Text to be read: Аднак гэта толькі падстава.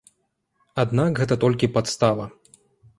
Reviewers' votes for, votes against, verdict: 1, 2, rejected